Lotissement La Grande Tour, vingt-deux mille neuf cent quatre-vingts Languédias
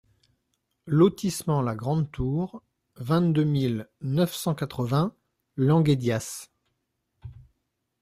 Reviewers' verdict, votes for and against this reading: accepted, 2, 0